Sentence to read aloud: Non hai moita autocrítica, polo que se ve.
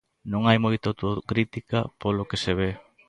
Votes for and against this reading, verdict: 0, 2, rejected